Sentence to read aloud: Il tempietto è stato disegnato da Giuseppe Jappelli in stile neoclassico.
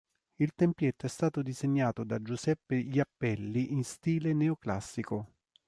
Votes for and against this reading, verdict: 3, 0, accepted